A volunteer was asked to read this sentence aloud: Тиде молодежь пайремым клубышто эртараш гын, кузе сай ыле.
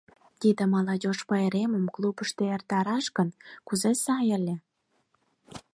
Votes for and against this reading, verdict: 4, 0, accepted